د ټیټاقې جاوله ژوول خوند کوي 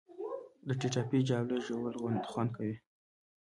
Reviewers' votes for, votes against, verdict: 0, 2, rejected